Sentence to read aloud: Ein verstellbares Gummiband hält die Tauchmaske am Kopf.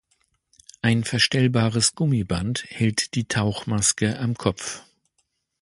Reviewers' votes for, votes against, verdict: 2, 0, accepted